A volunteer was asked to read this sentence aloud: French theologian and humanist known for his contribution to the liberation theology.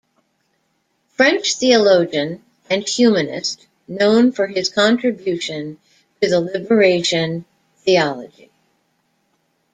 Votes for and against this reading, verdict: 2, 1, accepted